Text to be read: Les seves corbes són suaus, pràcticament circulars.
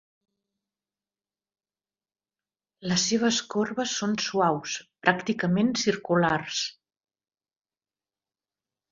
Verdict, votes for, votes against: accepted, 2, 0